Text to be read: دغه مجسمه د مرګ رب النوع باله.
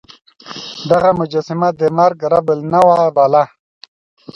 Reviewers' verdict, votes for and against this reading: rejected, 1, 2